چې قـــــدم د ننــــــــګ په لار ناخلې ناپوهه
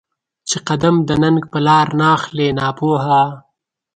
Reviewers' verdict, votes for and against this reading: accepted, 2, 0